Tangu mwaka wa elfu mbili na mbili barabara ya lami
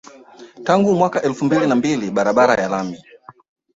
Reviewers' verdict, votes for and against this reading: accepted, 2, 1